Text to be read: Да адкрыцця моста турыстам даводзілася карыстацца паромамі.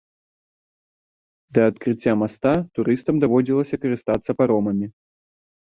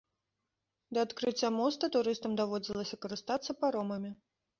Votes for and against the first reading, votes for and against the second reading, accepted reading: 1, 2, 2, 0, second